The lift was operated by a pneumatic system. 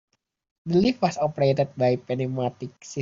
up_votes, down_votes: 0, 2